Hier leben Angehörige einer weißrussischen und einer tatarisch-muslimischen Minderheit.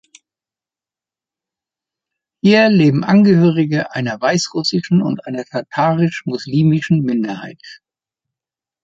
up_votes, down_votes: 2, 0